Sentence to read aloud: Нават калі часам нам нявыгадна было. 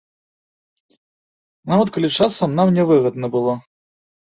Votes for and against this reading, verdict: 2, 0, accepted